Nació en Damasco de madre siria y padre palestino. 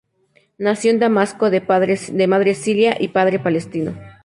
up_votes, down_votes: 2, 4